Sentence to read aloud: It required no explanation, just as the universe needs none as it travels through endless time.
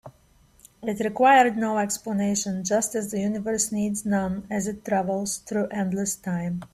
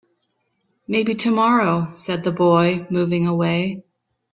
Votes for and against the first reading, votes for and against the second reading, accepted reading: 3, 0, 0, 5, first